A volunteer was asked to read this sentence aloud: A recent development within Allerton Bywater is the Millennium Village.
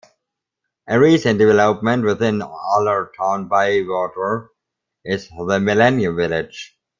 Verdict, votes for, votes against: accepted, 2, 1